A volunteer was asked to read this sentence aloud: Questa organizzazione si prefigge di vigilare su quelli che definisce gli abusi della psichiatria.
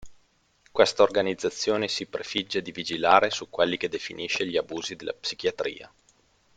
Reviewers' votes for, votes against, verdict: 2, 0, accepted